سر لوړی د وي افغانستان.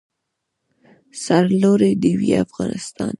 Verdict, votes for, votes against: rejected, 0, 2